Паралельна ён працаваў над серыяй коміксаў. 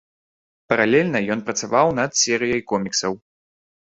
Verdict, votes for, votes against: accepted, 3, 0